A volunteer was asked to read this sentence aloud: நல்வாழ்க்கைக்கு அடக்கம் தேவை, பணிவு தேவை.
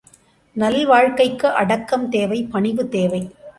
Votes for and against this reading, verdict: 2, 0, accepted